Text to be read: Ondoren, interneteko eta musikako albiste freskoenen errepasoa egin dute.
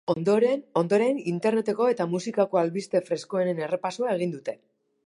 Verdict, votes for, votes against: rejected, 0, 2